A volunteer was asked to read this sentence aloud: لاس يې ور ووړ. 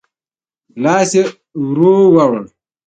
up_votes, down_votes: 1, 2